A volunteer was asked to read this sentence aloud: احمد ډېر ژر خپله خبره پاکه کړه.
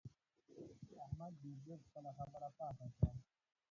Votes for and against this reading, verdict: 0, 4, rejected